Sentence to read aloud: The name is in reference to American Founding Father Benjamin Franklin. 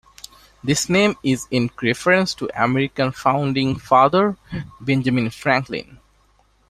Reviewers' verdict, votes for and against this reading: rejected, 0, 2